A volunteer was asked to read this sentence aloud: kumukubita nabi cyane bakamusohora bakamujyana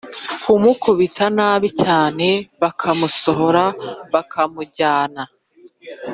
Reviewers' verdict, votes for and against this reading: accepted, 2, 0